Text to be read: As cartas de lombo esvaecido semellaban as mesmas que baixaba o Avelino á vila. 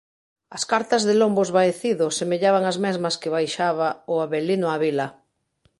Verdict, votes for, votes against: accepted, 2, 0